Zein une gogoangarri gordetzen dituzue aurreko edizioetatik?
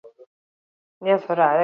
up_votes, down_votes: 0, 4